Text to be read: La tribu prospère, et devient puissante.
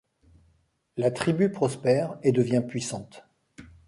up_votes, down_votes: 1, 2